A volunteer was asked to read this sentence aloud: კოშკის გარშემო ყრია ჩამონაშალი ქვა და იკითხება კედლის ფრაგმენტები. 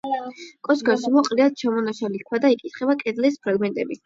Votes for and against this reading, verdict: 4, 8, rejected